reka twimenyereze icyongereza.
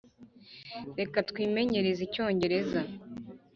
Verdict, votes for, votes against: accepted, 2, 0